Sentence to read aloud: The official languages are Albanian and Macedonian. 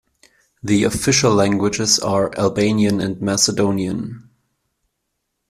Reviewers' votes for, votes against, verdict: 2, 0, accepted